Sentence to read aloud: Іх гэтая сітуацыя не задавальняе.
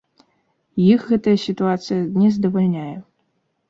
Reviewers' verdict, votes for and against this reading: rejected, 0, 2